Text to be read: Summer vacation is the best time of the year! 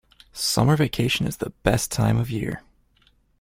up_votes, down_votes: 2, 0